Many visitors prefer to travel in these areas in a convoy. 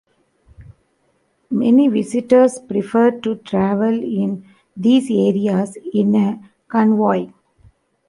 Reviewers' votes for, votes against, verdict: 2, 0, accepted